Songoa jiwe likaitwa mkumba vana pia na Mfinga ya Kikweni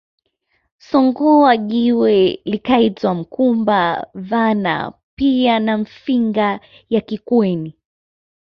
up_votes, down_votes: 2, 0